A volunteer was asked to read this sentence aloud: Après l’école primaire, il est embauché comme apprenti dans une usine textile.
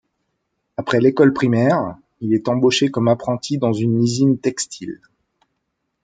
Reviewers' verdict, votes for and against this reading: accepted, 2, 0